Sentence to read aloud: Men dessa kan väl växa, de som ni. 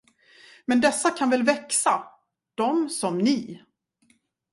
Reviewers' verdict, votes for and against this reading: accepted, 2, 0